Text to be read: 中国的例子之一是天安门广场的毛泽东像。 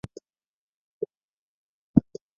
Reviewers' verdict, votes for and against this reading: rejected, 0, 3